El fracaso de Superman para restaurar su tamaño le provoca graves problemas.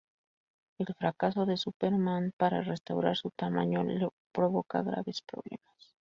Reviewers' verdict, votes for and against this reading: rejected, 0, 2